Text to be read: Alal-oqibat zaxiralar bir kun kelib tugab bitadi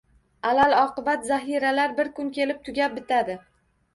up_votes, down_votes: 2, 0